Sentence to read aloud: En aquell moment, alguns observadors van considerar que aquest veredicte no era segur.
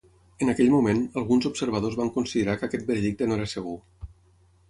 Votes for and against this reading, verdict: 0, 6, rejected